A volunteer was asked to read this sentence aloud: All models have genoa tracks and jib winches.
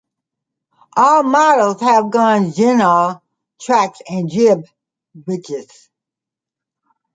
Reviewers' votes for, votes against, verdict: 0, 2, rejected